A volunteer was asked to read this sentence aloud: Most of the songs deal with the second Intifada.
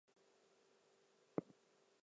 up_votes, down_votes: 0, 4